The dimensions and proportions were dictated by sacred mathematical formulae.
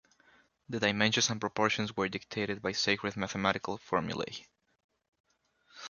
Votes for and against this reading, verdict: 2, 1, accepted